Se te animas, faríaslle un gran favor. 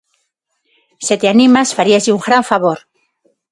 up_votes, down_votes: 6, 0